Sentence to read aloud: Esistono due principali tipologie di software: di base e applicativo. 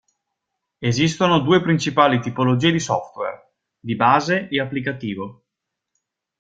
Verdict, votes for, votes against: accepted, 2, 0